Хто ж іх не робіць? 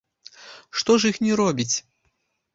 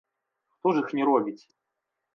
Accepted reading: second